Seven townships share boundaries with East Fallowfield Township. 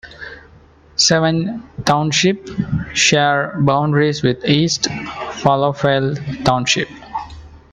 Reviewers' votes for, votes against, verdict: 1, 2, rejected